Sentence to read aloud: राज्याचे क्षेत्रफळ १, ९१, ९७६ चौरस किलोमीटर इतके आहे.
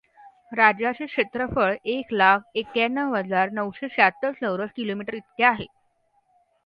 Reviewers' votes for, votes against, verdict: 0, 2, rejected